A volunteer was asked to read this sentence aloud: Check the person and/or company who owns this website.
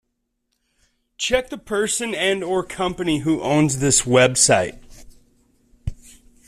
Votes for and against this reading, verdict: 2, 1, accepted